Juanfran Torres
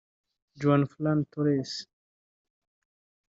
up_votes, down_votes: 1, 2